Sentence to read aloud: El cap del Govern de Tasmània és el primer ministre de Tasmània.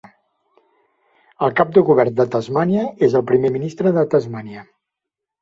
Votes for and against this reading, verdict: 1, 2, rejected